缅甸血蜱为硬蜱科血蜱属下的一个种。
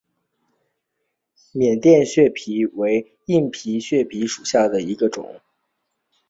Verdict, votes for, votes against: rejected, 0, 2